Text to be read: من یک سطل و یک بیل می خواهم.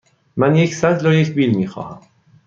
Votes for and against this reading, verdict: 2, 0, accepted